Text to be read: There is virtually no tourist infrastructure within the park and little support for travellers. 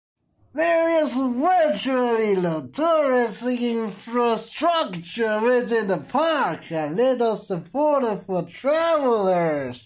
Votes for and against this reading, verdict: 1, 2, rejected